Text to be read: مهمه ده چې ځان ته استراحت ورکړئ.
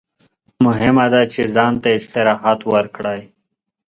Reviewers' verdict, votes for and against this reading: accepted, 2, 0